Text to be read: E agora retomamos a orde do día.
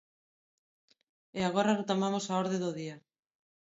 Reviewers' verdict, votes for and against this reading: rejected, 1, 2